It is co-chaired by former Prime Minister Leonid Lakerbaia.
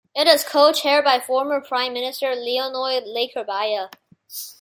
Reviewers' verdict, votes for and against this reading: rejected, 1, 2